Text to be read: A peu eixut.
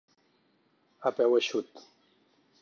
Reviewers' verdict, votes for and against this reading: accepted, 6, 0